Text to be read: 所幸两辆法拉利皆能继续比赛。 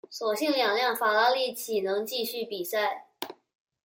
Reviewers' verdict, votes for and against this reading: rejected, 1, 2